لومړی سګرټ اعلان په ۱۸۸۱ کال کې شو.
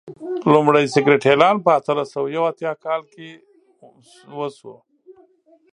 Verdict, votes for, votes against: rejected, 0, 2